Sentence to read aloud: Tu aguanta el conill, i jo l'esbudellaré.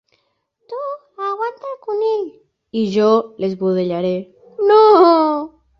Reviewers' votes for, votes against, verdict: 1, 2, rejected